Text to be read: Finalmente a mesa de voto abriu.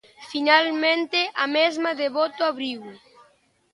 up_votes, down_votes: 0, 2